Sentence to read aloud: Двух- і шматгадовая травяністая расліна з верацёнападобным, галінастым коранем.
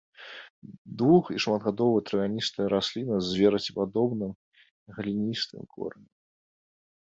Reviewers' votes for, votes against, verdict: 0, 2, rejected